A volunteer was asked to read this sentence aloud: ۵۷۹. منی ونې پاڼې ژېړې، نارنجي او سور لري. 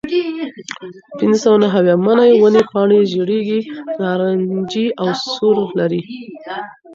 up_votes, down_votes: 0, 2